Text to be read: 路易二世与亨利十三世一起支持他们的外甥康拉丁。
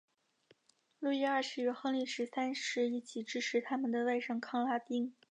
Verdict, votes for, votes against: accepted, 2, 1